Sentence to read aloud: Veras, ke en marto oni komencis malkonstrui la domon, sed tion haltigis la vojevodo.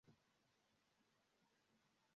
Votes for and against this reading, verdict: 0, 2, rejected